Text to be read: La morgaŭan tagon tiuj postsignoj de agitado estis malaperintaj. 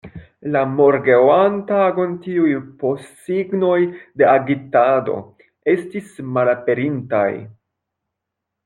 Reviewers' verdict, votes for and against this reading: rejected, 1, 2